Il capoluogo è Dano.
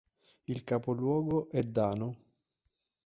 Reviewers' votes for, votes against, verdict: 3, 0, accepted